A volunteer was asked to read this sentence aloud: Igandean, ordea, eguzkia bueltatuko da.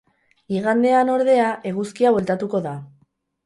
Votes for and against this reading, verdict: 2, 2, rejected